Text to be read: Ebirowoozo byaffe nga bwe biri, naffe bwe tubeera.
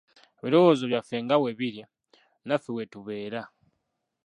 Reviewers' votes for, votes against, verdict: 1, 2, rejected